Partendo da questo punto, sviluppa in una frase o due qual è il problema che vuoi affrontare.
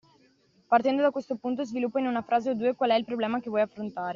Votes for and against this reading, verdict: 2, 0, accepted